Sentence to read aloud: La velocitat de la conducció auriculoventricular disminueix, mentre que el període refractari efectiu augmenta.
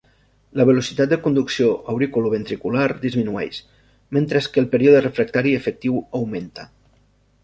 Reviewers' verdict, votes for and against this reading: rejected, 1, 2